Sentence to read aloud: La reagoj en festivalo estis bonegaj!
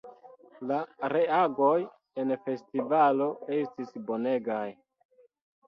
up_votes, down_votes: 2, 0